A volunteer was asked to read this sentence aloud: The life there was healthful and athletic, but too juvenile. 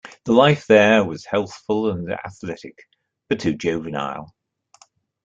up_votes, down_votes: 2, 0